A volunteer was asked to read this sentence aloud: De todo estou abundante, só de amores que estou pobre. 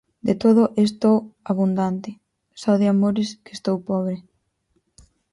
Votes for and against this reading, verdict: 2, 4, rejected